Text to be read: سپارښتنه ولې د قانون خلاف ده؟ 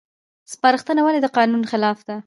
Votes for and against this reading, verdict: 1, 2, rejected